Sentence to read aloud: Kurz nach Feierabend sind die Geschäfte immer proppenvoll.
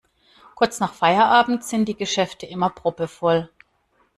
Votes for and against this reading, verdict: 0, 2, rejected